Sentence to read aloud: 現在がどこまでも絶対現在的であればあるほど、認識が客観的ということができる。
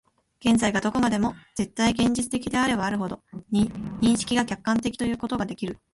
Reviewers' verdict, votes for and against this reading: accepted, 3, 1